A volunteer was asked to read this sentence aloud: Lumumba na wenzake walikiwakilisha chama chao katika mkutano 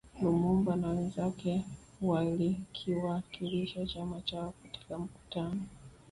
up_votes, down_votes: 3, 2